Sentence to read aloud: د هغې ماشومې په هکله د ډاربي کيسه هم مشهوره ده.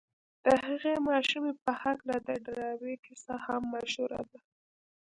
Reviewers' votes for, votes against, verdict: 2, 0, accepted